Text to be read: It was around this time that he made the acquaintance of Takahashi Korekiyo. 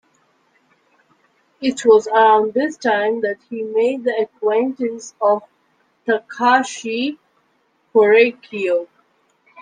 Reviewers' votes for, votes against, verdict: 1, 2, rejected